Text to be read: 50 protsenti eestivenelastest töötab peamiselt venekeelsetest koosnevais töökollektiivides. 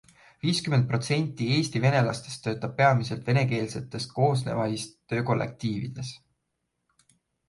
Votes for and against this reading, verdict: 0, 2, rejected